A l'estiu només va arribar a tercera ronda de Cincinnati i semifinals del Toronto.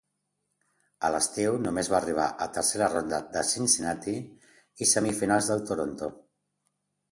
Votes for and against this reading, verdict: 2, 0, accepted